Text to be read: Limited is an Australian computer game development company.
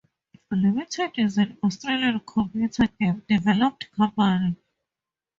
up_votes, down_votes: 0, 2